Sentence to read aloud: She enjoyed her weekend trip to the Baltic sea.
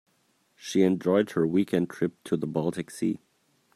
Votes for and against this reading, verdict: 2, 0, accepted